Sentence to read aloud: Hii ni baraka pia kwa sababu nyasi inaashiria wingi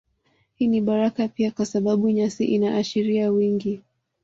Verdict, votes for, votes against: accepted, 2, 0